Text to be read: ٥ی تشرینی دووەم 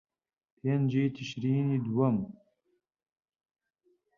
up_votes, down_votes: 0, 2